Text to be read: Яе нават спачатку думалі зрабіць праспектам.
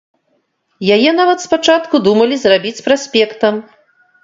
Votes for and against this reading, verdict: 2, 0, accepted